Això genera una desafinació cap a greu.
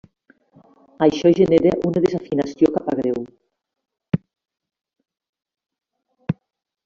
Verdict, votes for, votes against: rejected, 1, 2